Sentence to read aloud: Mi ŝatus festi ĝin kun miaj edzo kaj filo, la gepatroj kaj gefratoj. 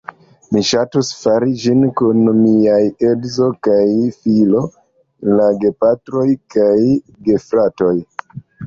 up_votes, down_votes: 1, 2